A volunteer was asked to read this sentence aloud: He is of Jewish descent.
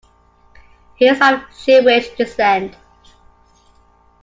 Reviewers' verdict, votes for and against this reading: accepted, 2, 0